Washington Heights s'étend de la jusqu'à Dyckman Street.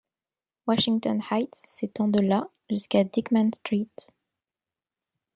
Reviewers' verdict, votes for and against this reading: accepted, 2, 0